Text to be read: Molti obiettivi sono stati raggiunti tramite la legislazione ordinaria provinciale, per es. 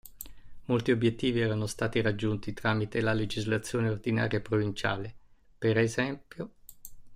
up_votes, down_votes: 1, 2